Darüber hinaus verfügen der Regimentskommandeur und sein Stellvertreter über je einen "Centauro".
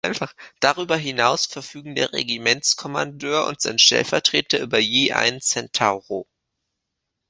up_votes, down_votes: 0, 2